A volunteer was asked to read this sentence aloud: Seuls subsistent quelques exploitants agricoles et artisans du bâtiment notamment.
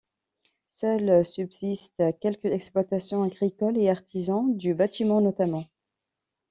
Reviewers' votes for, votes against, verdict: 1, 2, rejected